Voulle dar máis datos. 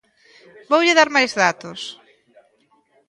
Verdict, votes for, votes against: rejected, 0, 2